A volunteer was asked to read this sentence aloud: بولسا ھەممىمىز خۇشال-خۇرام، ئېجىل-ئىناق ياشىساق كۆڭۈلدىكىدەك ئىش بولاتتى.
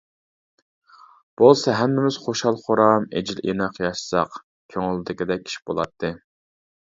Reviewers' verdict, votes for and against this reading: accepted, 2, 0